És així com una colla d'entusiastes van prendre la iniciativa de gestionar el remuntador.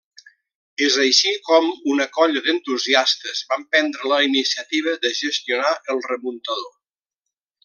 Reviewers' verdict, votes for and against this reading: accepted, 2, 1